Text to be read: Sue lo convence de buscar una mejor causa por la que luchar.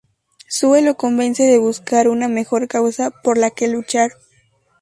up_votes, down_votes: 2, 0